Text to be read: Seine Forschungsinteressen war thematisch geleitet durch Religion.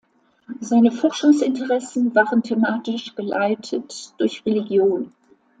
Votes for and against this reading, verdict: 0, 2, rejected